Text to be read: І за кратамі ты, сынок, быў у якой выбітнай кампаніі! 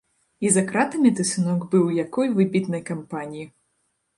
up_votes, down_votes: 1, 2